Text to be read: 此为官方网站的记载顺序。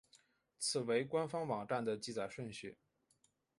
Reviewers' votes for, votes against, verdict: 0, 2, rejected